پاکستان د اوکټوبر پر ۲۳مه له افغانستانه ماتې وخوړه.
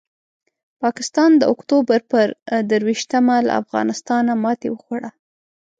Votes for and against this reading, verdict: 0, 2, rejected